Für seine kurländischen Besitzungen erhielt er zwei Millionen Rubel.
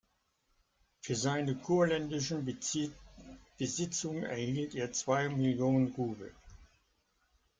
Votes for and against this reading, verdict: 0, 2, rejected